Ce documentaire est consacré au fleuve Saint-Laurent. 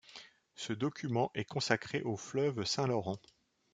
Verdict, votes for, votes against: rejected, 1, 2